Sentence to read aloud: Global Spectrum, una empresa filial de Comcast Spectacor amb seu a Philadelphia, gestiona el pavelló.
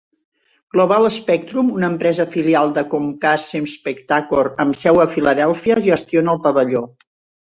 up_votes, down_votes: 2, 0